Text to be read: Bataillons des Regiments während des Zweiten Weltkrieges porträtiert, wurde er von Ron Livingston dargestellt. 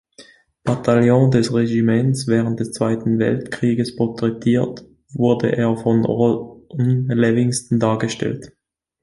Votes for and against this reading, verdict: 1, 2, rejected